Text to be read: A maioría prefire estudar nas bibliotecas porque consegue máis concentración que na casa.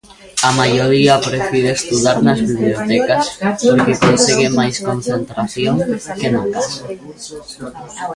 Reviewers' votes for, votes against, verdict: 1, 2, rejected